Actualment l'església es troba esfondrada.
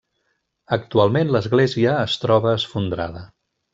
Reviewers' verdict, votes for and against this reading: accepted, 3, 0